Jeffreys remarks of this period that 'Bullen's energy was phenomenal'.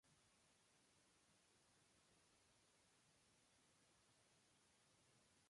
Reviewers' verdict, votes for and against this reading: rejected, 0, 2